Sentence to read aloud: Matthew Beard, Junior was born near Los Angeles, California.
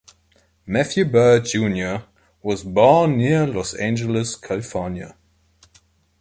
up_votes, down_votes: 2, 0